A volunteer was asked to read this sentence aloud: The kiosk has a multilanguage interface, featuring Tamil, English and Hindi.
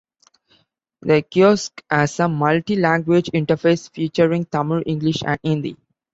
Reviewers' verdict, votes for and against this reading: accepted, 2, 0